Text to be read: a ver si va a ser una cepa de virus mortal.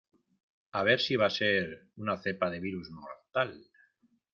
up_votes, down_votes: 2, 0